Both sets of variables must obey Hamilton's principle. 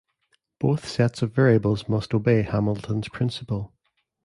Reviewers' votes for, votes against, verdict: 3, 1, accepted